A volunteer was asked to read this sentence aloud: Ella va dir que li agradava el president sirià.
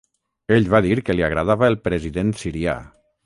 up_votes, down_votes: 3, 3